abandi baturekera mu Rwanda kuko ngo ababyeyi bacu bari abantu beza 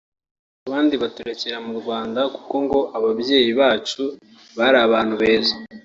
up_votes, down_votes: 2, 0